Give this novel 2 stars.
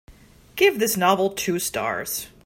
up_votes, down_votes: 0, 2